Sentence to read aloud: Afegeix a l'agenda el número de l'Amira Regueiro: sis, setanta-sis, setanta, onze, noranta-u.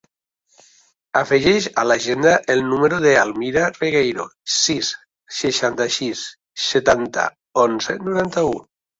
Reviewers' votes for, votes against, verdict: 0, 2, rejected